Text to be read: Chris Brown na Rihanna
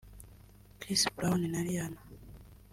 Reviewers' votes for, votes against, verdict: 2, 0, accepted